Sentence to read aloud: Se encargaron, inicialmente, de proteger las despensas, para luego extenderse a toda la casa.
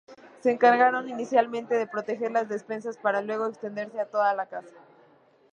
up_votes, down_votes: 2, 0